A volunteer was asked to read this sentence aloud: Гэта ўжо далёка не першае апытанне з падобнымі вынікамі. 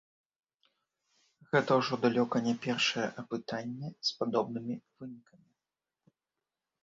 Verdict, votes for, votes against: rejected, 1, 2